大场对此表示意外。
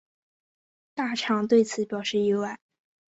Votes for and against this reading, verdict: 3, 0, accepted